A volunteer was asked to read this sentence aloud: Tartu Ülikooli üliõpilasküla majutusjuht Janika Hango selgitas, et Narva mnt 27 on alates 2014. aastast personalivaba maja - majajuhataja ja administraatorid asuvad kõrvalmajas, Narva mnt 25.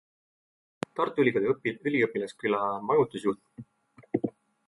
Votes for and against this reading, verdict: 0, 2, rejected